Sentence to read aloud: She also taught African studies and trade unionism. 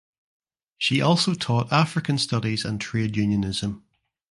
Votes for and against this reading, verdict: 2, 0, accepted